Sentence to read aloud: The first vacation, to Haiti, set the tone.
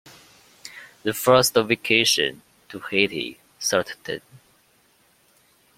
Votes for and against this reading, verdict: 0, 2, rejected